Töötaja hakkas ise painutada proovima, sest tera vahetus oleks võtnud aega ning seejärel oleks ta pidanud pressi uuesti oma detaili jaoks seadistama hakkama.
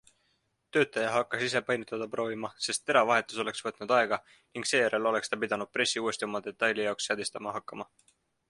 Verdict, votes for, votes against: accepted, 2, 0